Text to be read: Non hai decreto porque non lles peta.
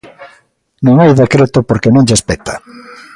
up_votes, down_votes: 2, 0